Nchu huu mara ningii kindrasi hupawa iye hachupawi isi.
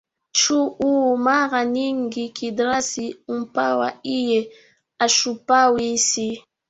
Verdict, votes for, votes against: rejected, 1, 2